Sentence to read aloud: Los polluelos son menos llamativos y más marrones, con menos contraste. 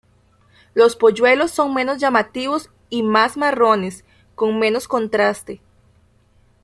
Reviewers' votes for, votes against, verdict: 1, 2, rejected